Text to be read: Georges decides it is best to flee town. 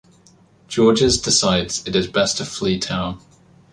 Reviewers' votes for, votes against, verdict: 1, 2, rejected